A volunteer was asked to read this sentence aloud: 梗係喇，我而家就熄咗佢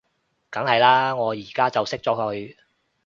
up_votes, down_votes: 2, 0